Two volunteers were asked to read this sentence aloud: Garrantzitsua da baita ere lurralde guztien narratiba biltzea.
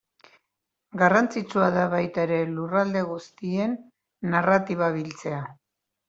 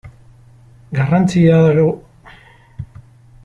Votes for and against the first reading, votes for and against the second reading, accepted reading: 3, 1, 0, 2, first